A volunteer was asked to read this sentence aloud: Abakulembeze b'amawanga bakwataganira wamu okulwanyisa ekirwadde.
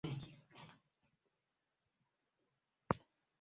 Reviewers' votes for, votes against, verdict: 0, 2, rejected